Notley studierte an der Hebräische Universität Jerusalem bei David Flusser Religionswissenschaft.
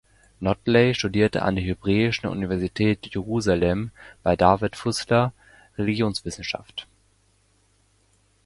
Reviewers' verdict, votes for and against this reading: rejected, 1, 2